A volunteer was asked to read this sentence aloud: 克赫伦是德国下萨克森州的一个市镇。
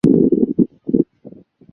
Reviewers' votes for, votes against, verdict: 0, 2, rejected